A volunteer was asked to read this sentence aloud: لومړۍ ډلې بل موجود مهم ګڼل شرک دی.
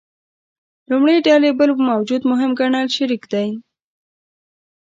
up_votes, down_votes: 1, 2